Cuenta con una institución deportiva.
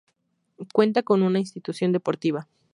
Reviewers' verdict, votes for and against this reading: accepted, 2, 0